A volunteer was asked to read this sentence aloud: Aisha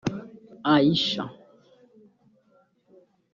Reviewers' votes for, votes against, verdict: 1, 2, rejected